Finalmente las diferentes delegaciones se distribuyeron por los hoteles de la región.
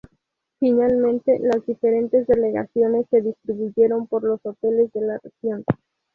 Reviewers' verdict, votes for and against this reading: accepted, 4, 2